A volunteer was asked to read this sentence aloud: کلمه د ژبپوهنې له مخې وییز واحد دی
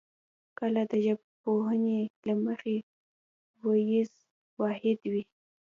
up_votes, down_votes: 0, 2